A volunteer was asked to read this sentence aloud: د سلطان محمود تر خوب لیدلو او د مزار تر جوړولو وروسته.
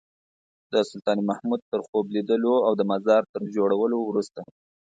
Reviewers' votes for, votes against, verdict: 2, 0, accepted